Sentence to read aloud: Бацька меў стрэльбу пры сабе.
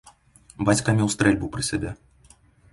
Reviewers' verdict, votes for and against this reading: rejected, 0, 2